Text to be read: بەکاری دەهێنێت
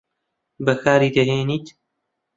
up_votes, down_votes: 0, 2